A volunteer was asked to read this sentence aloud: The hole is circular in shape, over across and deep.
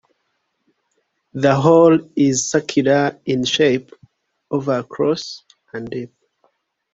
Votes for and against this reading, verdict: 2, 0, accepted